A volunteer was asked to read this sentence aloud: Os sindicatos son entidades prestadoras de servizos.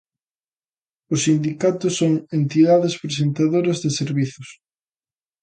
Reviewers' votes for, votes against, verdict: 0, 2, rejected